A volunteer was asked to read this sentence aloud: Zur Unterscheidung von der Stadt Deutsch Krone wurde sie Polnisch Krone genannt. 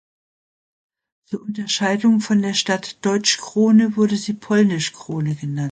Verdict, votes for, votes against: rejected, 0, 2